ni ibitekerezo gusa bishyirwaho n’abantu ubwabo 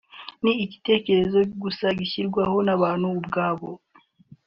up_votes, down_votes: 1, 2